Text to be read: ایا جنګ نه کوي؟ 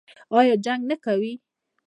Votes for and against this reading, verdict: 0, 2, rejected